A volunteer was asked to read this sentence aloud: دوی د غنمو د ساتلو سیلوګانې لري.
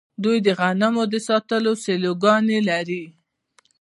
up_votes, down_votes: 2, 0